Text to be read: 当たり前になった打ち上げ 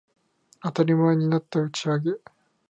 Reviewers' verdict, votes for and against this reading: accepted, 2, 0